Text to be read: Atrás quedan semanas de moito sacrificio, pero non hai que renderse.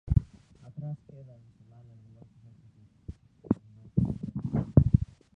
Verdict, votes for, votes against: rejected, 0, 2